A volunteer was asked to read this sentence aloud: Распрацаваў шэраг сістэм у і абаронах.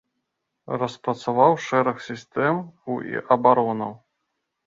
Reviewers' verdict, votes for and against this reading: rejected, 0, 2